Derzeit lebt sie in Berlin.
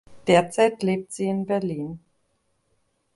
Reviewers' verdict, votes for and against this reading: accepted, 2, 0